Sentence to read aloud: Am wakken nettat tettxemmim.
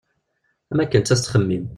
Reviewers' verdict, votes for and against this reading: rejected, 1, 2